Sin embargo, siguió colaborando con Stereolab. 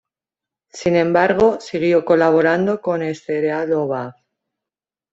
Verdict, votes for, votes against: rejected, 1, 2